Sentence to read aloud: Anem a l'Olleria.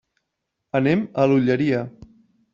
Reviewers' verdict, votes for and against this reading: accepted, 3, 0